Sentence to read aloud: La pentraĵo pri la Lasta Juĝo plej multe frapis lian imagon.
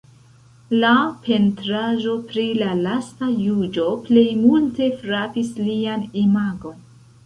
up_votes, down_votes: 0, 2